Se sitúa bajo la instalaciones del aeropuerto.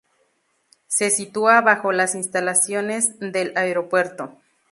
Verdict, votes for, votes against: accepted, 2, 0